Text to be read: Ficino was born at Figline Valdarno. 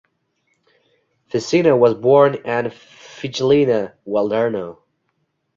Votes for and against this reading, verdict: 0, 2, rejected